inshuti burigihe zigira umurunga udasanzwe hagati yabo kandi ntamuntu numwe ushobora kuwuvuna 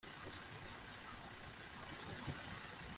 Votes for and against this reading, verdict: 1, 2, rejected